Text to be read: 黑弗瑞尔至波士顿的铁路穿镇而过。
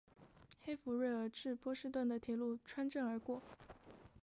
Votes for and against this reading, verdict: 6, 1, accepted